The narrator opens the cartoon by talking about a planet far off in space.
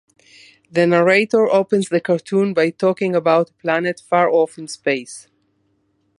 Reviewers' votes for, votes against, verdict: 0, 2, rejected